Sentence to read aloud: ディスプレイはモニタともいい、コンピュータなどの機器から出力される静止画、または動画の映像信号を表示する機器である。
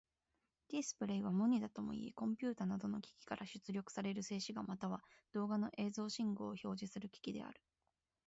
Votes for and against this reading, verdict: 3, 6, rejected